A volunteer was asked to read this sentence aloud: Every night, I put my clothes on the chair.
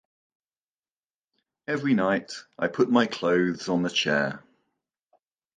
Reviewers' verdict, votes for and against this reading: accepted, 2, 0